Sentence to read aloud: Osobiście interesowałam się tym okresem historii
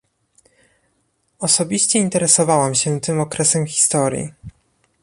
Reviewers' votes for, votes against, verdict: 2, 0, accepted